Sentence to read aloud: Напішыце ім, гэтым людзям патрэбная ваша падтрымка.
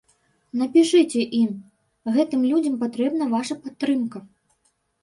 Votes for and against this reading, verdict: 0, 2, rejected